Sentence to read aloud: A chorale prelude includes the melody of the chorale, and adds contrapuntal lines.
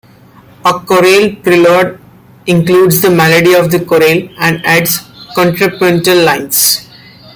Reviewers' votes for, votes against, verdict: 1, 2, rejected